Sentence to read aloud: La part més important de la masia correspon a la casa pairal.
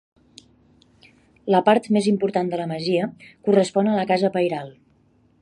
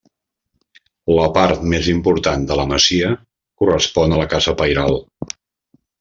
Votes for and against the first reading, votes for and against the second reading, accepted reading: 4, 0, 1, 2, first